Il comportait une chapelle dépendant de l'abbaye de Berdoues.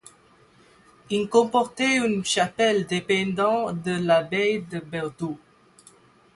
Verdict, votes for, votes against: accepted, 8, 4